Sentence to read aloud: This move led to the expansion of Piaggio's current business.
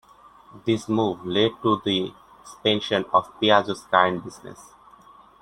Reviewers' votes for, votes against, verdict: 0, 2, rejected